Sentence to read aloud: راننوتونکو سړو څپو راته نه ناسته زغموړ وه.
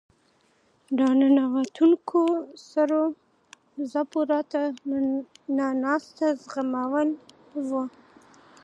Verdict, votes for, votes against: accepted, 2, 0